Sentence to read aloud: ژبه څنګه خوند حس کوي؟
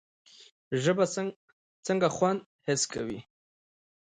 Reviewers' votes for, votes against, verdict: 0, 2, rejected